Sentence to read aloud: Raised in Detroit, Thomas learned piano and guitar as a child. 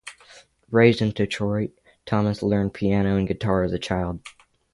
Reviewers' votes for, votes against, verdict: 3, 0, accepted